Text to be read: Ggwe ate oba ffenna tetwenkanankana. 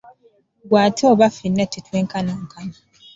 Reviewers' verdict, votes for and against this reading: accepted, 2, 0